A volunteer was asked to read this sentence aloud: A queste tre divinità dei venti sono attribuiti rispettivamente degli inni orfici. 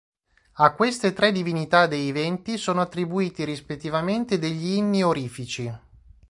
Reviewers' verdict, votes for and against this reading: rejected, 1, 2